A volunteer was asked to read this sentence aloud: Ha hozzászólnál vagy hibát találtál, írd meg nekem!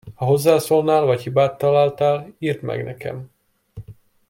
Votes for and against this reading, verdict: 2, 0, accepted